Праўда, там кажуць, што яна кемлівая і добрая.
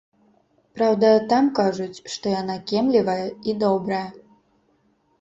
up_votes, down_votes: 2, 0